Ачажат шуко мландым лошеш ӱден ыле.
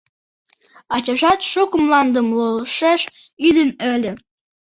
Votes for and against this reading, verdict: 0, 2, rejected